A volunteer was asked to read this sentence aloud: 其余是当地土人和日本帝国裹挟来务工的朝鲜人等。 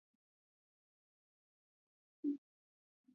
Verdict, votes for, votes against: rejected, 0, 2